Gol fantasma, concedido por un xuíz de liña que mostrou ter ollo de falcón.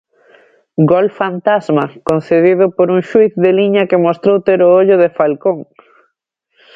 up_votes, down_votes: 0, 2